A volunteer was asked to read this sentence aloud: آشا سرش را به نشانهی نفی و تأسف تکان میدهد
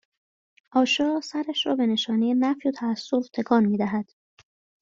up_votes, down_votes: 2, 0